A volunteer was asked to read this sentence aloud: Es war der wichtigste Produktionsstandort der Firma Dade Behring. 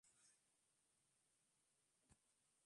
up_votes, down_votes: 0, 2